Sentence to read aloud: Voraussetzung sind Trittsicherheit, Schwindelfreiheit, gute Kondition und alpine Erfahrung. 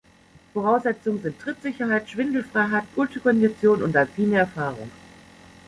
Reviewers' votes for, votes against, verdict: 1, 2, rejected